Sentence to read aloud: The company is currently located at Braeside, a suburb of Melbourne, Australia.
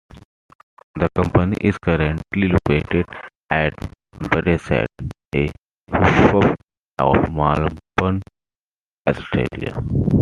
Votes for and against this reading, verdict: 2, 1, accepted